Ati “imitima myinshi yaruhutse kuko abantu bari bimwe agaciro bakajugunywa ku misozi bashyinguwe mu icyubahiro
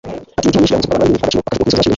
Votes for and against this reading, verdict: 1, 2, rejected